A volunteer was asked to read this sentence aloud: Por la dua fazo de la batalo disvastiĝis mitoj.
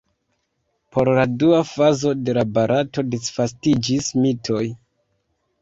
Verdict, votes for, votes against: rejected, 0, 2